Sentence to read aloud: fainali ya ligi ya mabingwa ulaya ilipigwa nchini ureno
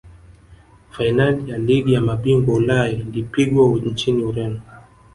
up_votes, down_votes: 2, 3